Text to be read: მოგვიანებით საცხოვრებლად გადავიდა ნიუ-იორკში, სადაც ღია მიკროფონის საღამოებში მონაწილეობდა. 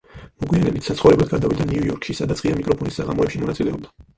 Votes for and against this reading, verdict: 0, 4, rejected